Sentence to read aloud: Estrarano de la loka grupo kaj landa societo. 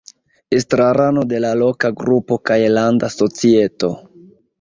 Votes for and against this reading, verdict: 1, 2, rejected